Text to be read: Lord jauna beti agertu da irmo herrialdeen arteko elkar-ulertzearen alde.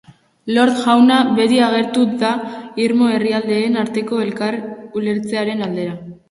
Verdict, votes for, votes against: accepted, 4, 0